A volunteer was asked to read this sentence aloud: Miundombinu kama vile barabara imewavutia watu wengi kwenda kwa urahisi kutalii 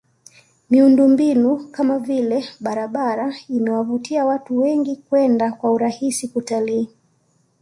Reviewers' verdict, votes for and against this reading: accepted, 2, 0